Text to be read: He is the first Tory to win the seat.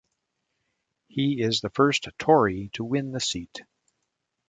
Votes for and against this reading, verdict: 2, 0, accepted